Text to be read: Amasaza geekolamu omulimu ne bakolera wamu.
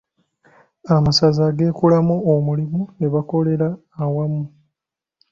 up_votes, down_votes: 1, 2